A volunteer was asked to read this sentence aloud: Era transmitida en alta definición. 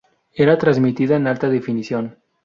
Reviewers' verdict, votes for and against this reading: accepted, 2, 0